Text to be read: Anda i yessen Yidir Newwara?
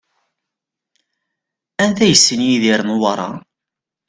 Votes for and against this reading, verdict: 0, 2, rejected